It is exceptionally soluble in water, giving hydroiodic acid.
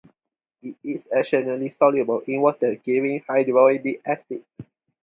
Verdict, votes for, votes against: rejected, 0, 4